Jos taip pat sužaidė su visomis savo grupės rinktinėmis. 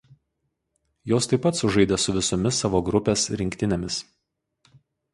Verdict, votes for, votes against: accepted, 4, 0